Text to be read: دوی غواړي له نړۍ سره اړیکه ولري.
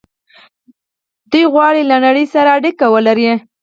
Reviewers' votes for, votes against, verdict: 4, 0, accepted